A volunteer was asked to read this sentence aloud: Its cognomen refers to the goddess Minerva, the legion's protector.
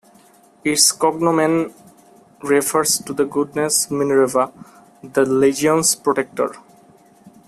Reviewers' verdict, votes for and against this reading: accepted, 2, 0